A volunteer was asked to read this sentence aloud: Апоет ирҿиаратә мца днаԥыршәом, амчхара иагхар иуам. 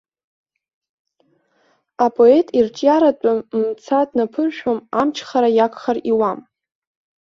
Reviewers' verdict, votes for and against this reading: rejected, 1, 2